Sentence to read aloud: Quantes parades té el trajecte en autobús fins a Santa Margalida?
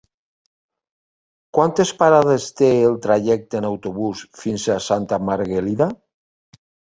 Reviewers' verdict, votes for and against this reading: rejected, 1, 2